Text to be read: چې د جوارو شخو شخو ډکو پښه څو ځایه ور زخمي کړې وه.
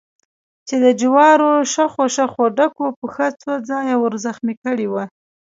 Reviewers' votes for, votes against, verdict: 1, 2, rejected